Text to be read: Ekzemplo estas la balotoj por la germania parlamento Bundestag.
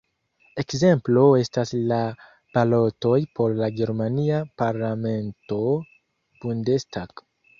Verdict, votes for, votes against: rejected, 1, 2